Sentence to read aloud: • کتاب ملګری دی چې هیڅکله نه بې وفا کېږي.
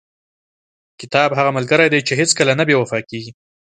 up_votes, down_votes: 2, 0